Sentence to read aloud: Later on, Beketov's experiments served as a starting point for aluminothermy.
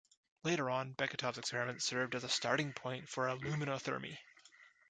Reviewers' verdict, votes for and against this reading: accepted, 2, 0